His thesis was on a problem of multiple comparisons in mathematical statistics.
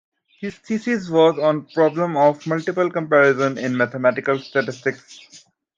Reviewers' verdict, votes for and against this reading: accepted, 2, 0